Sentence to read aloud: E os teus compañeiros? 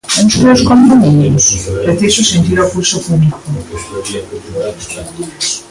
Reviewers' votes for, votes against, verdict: 0, 2, rejected